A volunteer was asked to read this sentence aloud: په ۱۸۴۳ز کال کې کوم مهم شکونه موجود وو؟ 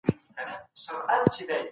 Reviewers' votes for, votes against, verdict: 0, 2, rejected